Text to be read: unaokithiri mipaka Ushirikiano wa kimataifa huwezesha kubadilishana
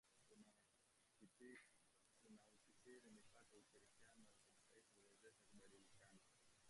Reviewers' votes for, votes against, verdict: 1, 2, rejected